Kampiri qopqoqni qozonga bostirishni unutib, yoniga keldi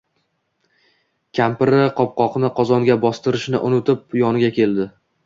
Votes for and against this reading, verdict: 2, 0, accepted